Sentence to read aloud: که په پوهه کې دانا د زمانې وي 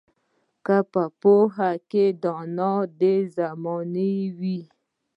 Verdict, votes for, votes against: accepted, 2, 0